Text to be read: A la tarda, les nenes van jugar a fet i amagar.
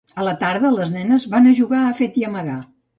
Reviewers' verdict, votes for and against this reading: rejected, 1, 2